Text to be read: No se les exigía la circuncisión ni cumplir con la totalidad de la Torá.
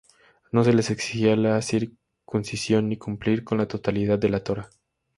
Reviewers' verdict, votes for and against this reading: accepted, 2, 0